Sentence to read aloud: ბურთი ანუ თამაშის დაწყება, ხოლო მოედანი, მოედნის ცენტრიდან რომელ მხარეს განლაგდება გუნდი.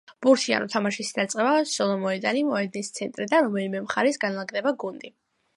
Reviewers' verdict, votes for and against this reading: accepted, 2, 0